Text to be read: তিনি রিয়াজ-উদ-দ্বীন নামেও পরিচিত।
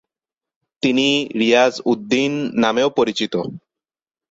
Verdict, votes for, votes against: accepted, 6, 1